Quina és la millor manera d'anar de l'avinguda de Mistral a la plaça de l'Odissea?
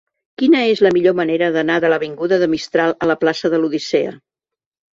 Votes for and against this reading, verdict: 2, 0, accepted